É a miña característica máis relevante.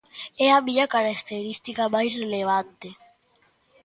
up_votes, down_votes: 1, 2